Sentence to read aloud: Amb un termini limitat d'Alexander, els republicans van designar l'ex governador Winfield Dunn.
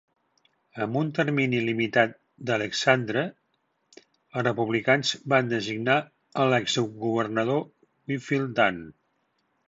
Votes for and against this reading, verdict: 0, 2, rejected